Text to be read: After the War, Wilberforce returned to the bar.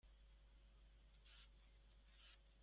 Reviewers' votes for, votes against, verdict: 0, 2, rejected